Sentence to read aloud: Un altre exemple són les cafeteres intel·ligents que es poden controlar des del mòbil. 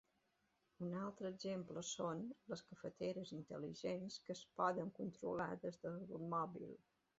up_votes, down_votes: 2, 0